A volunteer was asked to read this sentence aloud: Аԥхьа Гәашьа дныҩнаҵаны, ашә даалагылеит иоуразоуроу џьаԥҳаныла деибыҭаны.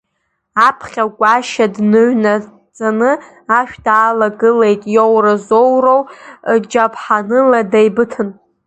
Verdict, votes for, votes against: rejected, 0, 2